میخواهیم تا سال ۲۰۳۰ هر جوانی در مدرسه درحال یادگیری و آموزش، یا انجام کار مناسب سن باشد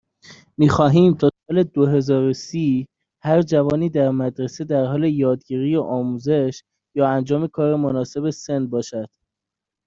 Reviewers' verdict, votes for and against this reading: rejected, 0, 2